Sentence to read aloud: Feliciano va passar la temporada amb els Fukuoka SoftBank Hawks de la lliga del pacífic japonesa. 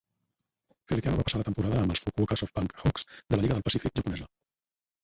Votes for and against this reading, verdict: 2, 4, rejected